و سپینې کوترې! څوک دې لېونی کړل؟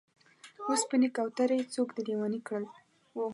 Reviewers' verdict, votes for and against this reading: accepted, 2, 0